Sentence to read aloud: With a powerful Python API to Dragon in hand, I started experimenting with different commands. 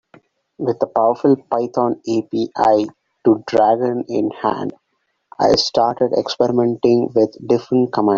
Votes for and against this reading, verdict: 0, 3, rejected